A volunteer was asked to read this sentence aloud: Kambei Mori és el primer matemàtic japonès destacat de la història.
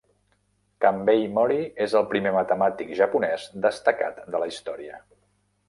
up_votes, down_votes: 2, 0